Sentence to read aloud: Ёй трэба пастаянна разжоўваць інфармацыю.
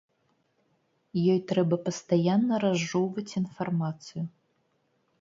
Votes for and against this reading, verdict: 2, 0, accepted